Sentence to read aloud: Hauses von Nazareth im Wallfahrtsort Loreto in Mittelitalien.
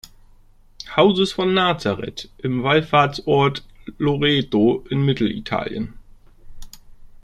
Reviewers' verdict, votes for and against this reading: accepted, 2, 0